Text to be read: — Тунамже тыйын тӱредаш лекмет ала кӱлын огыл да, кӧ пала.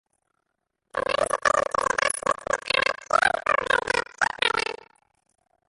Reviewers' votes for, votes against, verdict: 0, 2, rejected